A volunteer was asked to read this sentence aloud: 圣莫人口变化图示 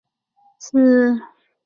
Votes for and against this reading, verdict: 0, 3, rejected